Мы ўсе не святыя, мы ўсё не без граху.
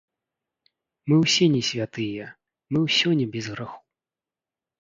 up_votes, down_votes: 0, 2